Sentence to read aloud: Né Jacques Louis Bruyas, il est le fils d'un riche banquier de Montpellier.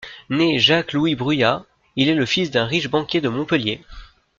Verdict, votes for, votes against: accepted, 2, 0